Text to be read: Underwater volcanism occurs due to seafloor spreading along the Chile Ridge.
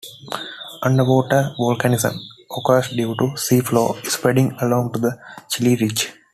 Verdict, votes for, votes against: accepted, 2, 0